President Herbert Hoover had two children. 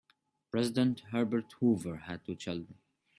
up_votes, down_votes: 2, 0